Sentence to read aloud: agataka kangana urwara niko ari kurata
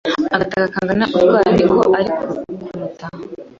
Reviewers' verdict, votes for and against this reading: rejected, 2, 3